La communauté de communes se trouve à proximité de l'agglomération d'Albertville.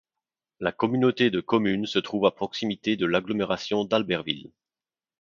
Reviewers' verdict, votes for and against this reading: accepted, 2, 0